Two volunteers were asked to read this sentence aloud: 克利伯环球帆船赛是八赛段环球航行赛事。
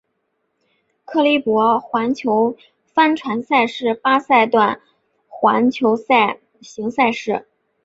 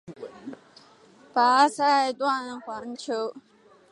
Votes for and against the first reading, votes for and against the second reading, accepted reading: 2, 3, 3, 2, second